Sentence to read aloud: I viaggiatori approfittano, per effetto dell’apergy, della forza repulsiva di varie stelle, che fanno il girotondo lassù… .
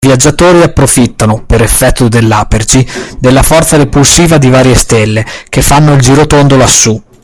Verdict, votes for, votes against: rejected, 1, 2